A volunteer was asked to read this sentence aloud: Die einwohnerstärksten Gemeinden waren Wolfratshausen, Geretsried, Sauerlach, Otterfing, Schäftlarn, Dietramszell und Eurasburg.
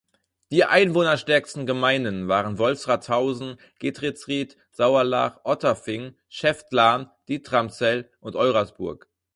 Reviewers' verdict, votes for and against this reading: rejected, 0, 4